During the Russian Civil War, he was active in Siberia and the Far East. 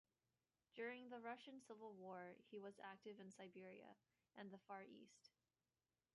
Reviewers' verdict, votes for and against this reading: rejected, 1, 2